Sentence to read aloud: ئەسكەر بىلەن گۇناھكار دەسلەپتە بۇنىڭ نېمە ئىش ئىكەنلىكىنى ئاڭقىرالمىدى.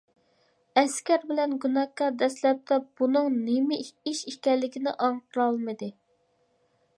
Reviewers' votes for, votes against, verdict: 1, 2, rejected